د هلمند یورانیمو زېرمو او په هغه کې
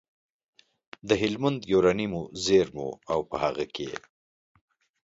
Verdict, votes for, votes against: accepted, 2, 0